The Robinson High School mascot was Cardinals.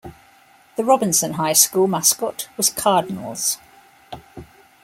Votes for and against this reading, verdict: 2, 0, accepted